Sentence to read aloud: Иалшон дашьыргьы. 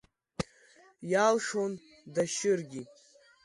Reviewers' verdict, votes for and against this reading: accepted, 2, 0